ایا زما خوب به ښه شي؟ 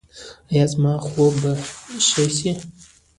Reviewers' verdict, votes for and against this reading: accepted, 2, 1